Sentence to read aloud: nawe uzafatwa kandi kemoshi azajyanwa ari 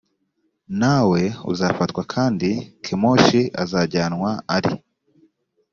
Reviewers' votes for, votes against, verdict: 2, 0, accepted